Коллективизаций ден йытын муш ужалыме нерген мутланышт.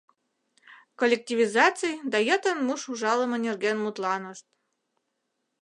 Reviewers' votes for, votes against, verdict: 0, 2, rejected